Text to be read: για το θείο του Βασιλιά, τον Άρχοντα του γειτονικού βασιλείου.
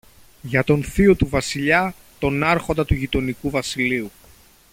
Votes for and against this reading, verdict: 2, 0, accepted